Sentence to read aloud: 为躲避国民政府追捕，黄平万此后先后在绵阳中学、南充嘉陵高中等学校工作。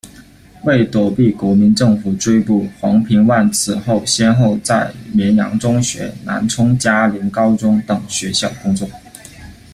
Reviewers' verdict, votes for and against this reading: accepted, 2, 0